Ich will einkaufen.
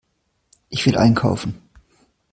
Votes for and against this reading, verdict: 2, 0, accepted